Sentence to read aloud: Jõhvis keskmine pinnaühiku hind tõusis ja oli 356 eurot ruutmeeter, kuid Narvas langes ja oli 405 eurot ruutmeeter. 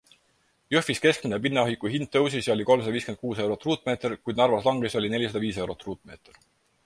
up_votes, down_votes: 0, 2